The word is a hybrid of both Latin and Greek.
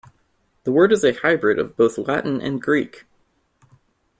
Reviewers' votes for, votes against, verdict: 2, 0, accepted